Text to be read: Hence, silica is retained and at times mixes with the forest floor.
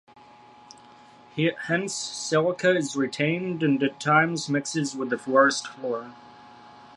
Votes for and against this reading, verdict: 0, 2, rejected